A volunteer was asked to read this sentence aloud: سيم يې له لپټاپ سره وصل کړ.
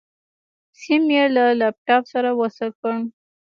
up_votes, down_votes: 0, 2